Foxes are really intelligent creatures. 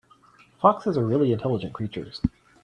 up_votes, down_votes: 3, 0